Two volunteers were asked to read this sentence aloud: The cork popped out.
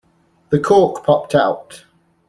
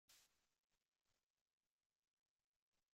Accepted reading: first